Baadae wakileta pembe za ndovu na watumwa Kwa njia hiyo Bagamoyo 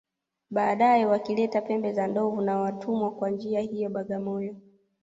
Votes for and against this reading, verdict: 2, 0, accepted